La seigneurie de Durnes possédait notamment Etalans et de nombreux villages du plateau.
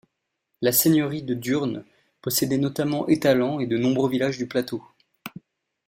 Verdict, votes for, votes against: accepted, 2, 1